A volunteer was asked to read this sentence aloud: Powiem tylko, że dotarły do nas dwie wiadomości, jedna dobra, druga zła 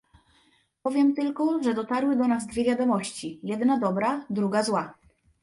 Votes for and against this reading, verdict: 1, 2, rejected